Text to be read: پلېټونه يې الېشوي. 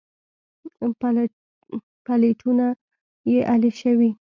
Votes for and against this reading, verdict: 2, 0, accepted